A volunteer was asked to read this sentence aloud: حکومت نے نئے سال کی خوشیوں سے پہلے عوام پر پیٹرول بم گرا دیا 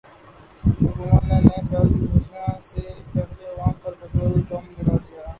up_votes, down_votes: 0, 2